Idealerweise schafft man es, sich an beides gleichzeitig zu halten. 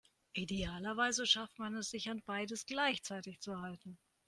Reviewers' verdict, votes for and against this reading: accepted, 4, 0